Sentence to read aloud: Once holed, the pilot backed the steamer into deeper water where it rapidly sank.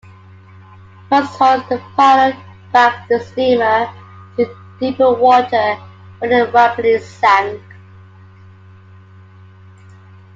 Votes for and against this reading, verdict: 2, 1, accepted